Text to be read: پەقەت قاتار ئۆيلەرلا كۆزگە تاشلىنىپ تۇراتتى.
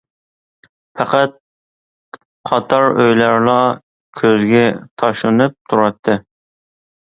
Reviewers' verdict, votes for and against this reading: accepted, 2, 0